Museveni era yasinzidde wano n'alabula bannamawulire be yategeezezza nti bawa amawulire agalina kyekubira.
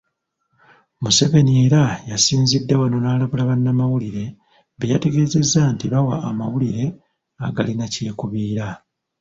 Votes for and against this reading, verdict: 1, 2, rejected